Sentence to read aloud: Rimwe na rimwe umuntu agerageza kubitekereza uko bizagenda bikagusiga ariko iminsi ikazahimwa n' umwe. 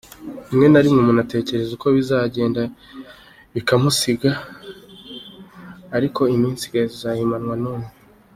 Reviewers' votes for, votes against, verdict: 1, 2, rejected